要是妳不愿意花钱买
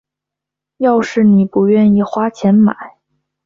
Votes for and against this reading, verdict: 0, 2, rejected